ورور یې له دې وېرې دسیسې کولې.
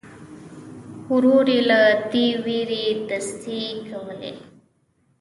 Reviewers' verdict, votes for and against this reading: rejected, 1, 2